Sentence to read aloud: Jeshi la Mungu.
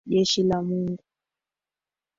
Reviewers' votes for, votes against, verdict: 2, 3, rejected